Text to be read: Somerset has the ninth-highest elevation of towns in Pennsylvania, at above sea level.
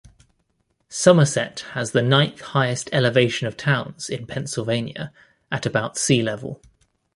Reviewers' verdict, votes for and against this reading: rejected, 1, 2